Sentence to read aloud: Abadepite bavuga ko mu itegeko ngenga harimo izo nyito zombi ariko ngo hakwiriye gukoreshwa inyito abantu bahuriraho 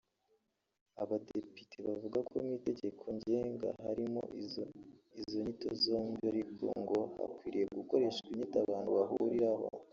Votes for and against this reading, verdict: 0, 2, rejected